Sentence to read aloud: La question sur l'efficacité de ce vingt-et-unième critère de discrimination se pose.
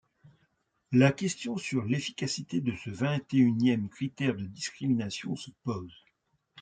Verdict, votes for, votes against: accepted, 2, 0